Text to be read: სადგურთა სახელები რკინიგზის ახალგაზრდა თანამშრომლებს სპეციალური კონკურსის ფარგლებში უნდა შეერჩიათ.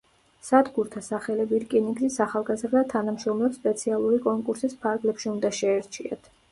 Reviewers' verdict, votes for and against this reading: rejected, 1, 2